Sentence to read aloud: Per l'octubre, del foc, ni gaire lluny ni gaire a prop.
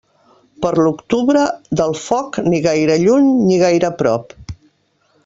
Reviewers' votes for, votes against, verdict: 2, 0, accepted